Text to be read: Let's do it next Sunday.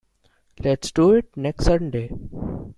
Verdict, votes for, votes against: rejected, 0, 2